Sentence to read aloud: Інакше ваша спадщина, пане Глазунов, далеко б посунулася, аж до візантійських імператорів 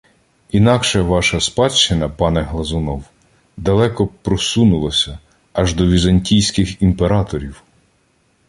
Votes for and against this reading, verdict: 0, 2, rejected